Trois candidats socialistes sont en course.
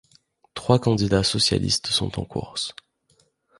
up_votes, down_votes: 2, 0